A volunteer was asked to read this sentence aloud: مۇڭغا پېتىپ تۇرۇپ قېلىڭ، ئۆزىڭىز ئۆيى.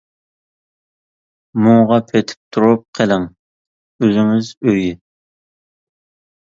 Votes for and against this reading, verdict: 2, 0, accepted